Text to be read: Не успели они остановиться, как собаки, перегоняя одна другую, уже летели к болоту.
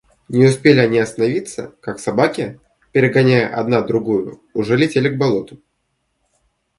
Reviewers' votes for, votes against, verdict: 2, 0, accepted